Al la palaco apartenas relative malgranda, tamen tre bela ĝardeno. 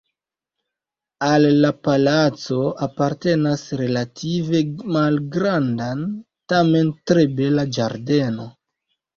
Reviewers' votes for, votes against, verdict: 1, 2, rejected